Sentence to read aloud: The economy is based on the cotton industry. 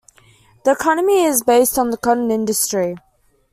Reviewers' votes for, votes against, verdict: 2, 0, accepted